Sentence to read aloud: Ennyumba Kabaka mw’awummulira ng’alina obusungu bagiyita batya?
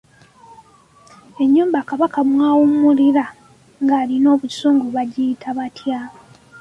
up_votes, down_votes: 2, 0